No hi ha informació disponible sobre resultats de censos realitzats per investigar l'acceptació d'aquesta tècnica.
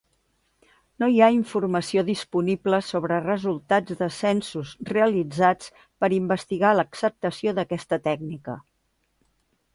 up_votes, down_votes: 3, 0